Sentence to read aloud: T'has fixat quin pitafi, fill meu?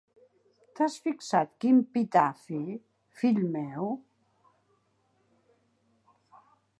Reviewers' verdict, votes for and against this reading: accepted, 3, 0